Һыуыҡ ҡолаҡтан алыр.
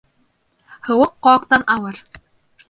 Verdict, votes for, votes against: rejected, 1, 2